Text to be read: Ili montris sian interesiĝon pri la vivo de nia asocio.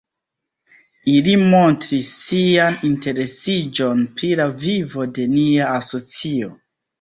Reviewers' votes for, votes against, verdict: 1, 3, rejected